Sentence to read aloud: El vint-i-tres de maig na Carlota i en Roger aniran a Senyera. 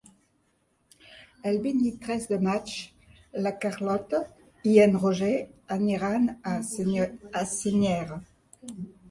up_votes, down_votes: 0, 3